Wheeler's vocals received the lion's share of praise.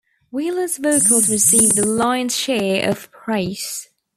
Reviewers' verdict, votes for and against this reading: accepted, 2, 0